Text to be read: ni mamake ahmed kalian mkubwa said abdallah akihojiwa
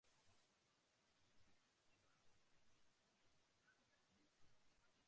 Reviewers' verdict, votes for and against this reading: rejected, 0, 2